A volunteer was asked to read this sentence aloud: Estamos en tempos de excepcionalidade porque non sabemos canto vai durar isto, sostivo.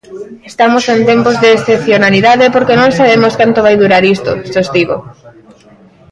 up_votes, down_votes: 2, 0